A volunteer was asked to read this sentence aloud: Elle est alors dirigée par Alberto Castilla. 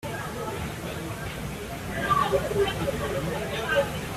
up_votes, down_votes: 0, 2